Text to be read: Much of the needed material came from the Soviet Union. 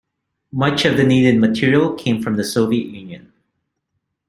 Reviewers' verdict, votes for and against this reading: accepted, 2, 0